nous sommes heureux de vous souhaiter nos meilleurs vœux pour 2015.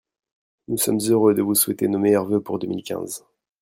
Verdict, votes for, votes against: rejected, 0, 2